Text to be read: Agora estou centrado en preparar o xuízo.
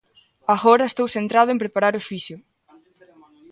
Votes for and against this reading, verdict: 0, 2, rejected